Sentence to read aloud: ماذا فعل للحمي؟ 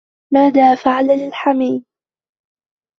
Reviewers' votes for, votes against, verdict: 2, 1, accepted